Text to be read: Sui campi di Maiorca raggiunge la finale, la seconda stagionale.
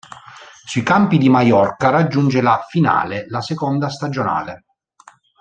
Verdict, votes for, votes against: accepted, 2, 0